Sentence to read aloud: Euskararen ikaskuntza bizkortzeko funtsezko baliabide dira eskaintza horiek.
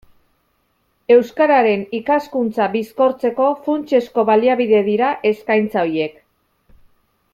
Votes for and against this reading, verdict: 1, 2, rejected